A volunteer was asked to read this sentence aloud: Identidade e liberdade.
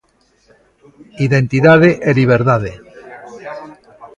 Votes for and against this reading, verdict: 1, 2, rejected